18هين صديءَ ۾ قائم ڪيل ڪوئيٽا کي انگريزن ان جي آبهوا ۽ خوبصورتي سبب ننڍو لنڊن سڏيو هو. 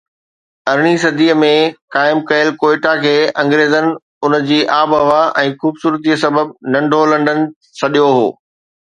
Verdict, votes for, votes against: rejected, 0, 2